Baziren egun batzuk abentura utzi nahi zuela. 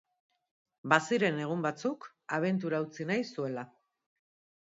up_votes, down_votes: 2, 0